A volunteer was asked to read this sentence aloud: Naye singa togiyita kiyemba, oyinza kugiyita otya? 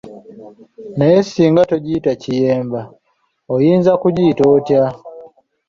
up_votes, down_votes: 2, 0